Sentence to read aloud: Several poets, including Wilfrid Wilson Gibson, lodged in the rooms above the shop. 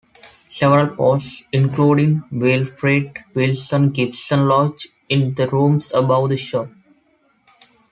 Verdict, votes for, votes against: rejected, 0, 2